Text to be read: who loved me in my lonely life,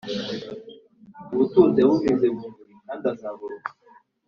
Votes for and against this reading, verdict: 0, 2, rejected